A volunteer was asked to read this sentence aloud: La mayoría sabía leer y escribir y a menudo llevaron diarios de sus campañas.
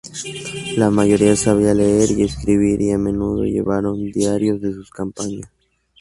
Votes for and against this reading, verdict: 0, 2, rejected